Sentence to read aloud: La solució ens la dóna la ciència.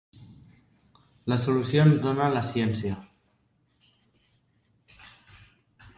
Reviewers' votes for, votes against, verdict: 0, 2, rejected